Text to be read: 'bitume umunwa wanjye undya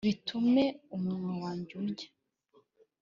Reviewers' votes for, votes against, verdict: 2, 0, accepted